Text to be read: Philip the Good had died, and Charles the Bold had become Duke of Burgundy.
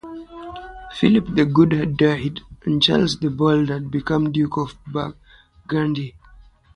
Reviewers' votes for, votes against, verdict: 0, 3, rejected